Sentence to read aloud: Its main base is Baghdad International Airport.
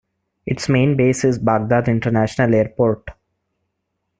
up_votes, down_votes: 2, 0